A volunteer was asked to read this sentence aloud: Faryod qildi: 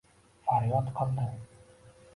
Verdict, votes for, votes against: rejected, 1, 2